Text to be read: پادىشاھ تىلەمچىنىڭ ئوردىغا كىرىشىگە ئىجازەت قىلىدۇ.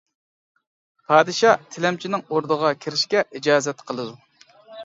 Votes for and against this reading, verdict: 0, 2, rejected